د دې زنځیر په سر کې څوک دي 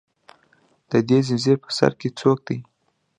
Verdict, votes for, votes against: accepted, 2, 0